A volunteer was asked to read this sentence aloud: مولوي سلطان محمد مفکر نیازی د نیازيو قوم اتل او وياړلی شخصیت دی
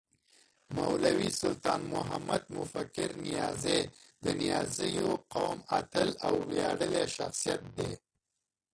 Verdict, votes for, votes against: rejected, 1, 2